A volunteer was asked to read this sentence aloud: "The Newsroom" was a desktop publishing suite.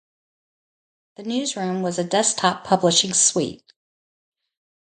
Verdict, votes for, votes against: accepted, 2, 0